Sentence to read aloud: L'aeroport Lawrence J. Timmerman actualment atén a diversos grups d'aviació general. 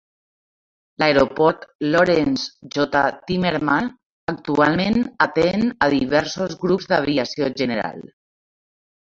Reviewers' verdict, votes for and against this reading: rejected, 0, 2